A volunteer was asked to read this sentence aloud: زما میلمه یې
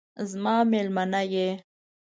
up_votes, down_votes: 0, 2